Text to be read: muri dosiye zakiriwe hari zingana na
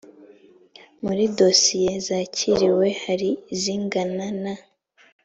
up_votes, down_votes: 2, 0